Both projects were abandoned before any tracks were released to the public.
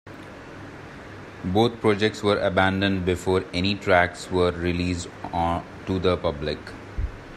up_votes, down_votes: 1, 2